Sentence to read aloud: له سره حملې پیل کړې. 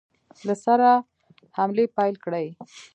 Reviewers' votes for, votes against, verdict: 2, 0, accepted